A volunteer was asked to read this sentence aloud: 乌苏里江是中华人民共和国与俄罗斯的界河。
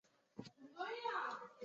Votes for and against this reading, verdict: 0, 3, rejected